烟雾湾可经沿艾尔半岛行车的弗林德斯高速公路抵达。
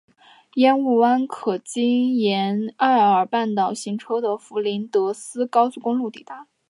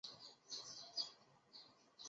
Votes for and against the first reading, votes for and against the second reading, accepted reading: 3, 0, 3, 4, first